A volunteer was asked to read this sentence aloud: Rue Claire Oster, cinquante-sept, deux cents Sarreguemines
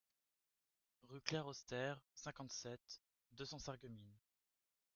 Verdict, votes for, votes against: accepted, 2, 0